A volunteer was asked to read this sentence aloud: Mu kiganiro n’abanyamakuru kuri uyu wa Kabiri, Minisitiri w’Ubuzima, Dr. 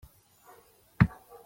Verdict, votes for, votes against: rejected, 0, 2